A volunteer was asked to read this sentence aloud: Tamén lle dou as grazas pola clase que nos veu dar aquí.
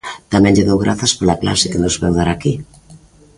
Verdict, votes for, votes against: rejected, 0, 2